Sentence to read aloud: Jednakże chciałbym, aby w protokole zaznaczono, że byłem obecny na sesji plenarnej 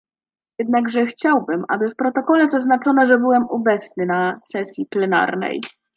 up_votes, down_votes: 2, 0